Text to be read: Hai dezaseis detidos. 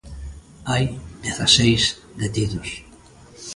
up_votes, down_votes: 2, 0